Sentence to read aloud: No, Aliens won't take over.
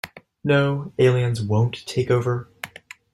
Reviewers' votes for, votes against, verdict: 2, 0, accepted